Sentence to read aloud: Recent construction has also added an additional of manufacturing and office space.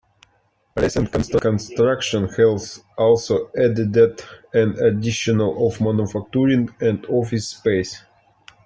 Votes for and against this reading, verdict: 0, 2, rejected